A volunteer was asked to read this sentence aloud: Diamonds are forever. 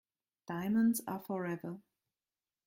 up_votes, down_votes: 2, 0